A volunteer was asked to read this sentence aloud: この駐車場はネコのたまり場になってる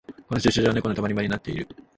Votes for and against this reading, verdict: 1, 2, rejected